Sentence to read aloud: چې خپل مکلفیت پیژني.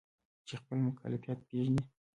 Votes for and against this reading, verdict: 2, 1, accepted